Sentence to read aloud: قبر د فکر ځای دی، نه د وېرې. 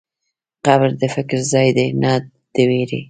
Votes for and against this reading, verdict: 0, 2, rejected